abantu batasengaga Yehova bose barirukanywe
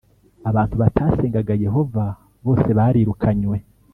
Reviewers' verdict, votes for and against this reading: accepted, 2, 0